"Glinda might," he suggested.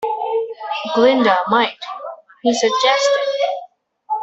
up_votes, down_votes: 0, 2